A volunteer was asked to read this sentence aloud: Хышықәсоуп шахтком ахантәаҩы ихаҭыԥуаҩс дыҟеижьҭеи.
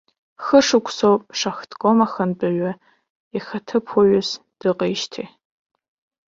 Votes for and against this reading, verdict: 2, 0, accepted